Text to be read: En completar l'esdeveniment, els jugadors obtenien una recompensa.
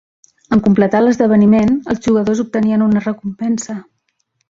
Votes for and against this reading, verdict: 3, 0, accepted